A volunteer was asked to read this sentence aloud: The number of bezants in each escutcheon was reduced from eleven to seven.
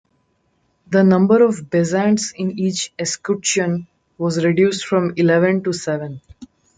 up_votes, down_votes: 2, 0